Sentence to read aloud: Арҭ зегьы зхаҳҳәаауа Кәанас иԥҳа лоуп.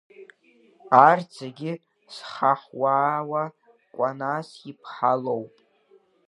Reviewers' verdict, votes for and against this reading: rejected, 0, 2